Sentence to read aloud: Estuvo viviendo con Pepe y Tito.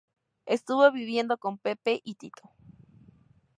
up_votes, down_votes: 4, 0